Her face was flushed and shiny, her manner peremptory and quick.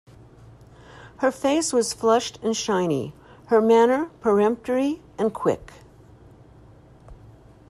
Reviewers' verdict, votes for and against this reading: accepted, 2, 0